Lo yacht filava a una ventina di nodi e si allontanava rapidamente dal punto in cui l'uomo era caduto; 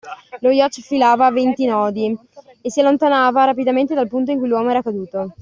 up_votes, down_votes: 0, 2